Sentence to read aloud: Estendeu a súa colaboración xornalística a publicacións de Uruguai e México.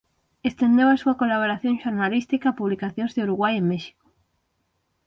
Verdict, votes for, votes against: accepted, 6, 0